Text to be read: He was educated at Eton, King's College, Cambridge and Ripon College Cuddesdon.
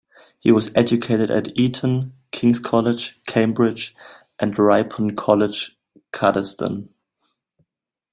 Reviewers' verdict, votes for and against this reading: accepted, 2, 0